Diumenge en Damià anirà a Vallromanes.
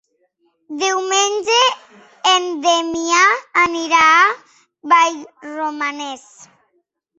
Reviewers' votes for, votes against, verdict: 1, 2, rejected